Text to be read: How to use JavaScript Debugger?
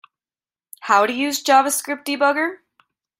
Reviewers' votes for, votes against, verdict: 1, 3, rejected